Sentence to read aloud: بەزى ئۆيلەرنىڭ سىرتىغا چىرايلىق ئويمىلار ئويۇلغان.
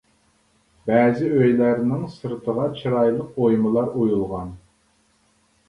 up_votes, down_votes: 3, 0